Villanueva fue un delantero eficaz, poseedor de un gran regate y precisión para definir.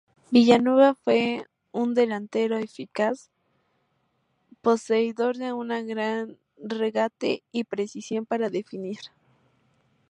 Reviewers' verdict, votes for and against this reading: rejected, 0, 2